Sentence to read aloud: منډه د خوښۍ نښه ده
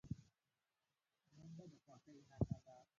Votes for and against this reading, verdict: 0, 2, rejected